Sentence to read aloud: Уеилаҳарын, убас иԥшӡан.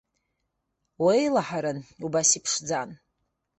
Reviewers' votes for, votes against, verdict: 2, 0, accepted